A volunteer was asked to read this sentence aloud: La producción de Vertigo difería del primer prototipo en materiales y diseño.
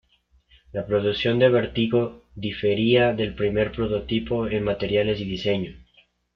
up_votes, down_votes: 0, 2